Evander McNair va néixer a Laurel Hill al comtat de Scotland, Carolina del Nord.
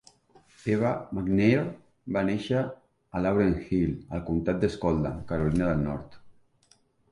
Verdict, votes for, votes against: rejected, 0, 2